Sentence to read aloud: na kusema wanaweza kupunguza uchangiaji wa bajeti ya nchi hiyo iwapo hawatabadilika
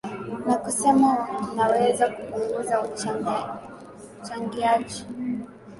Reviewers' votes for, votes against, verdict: 4, 11, rejected